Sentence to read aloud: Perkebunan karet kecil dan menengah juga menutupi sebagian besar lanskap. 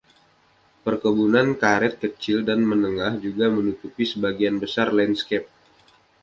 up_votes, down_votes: 1, 2